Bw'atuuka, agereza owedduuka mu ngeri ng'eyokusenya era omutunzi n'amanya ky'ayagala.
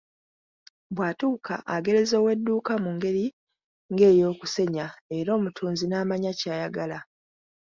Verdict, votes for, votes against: accepted, 2, 0